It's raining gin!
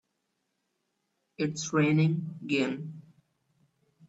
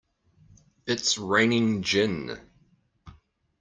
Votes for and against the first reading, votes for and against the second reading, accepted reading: 1, 2, 2, 0, second